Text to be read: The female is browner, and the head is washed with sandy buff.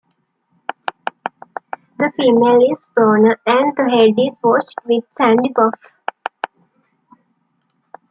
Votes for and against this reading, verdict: 1, 2, rejected